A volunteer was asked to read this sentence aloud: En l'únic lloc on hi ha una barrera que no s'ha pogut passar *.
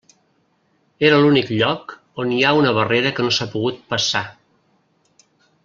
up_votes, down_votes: 0, 2